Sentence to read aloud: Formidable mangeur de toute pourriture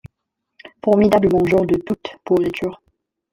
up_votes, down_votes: 2, 0